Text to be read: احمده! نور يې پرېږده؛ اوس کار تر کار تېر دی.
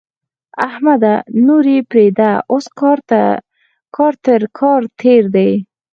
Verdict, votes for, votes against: accepted, 4, 0